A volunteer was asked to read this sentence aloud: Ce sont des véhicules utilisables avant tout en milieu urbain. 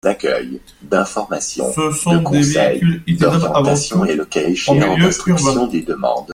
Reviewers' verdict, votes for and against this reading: rejected, 0, 2